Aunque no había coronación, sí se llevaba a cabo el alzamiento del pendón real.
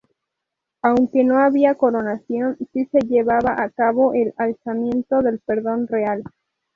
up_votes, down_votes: 0, 2